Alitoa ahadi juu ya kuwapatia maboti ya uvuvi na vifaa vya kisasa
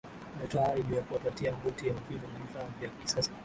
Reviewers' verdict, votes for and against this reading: rejected, 0, 2